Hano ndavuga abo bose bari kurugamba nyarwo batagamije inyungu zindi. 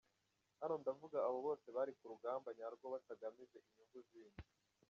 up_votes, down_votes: 0, 2